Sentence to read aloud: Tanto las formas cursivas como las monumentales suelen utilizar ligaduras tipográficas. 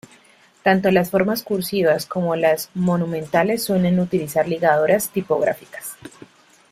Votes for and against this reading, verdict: 2, 0, accepted